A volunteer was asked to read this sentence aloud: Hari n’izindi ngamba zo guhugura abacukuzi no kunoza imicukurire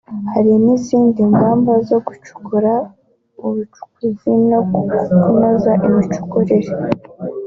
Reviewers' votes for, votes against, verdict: 0, 2, rejected